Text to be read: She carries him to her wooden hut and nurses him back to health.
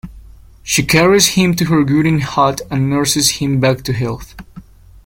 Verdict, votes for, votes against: rejected, 1, 2